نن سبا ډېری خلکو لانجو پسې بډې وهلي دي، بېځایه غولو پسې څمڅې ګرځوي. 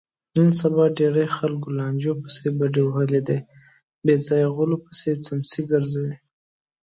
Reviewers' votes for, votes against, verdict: 2, 1, accepted